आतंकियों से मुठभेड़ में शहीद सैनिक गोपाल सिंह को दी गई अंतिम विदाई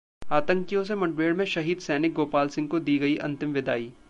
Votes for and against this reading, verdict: 2, 0, accepted